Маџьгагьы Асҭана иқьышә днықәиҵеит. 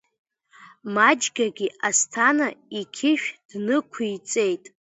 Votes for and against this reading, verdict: 1, 2, rejected